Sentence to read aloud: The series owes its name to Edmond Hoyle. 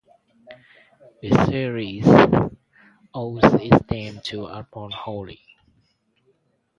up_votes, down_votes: 0, 2